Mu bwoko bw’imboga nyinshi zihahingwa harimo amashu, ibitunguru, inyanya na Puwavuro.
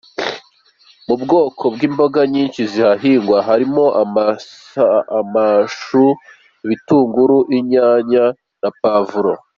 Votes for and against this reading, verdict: 2, 1, accepted